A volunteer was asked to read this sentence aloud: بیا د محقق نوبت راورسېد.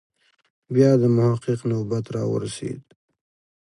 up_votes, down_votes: 2, 0